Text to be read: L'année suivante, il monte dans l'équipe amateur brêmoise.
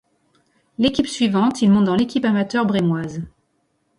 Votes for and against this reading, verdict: 1, 2, rejected